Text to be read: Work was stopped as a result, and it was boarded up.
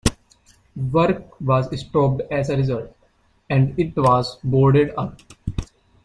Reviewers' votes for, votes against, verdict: 3, 2, accepted